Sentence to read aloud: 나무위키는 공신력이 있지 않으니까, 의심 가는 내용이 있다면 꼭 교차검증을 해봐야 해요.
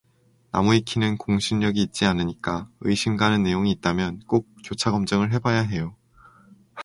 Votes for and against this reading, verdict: 2, 2, rejected